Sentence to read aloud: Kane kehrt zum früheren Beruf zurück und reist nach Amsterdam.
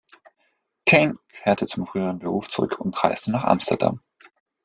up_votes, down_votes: 1, 2